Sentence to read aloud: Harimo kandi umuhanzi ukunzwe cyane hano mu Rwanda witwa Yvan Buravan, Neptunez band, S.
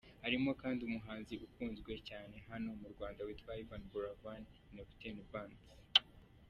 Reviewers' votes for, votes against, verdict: 1, 2, rejected